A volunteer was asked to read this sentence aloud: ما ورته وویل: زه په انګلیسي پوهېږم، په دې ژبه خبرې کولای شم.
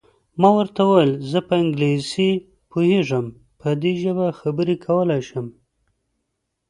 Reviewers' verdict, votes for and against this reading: accepted, 2, 0